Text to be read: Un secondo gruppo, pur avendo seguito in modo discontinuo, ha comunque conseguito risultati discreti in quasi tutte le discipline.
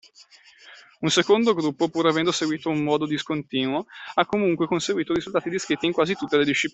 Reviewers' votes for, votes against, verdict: 0, 2, rejected